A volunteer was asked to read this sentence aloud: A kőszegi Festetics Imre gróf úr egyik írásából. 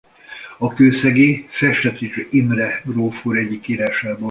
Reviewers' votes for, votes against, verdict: 1, 2, rejected